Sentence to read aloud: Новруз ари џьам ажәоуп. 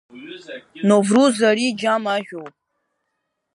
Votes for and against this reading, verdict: 2, 0, accepted